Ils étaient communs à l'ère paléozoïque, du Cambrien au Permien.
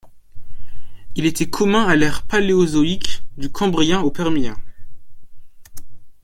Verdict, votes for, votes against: rejected, 1, 2